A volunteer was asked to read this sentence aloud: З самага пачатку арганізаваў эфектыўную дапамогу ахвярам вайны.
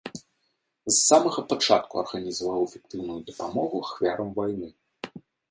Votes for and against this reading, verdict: 2, 0, accepted